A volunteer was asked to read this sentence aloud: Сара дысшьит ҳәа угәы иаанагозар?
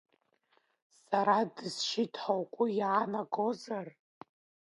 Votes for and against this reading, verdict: 2, 1, accepted